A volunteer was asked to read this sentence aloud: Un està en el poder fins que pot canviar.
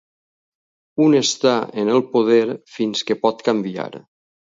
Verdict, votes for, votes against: accepted, 4, 0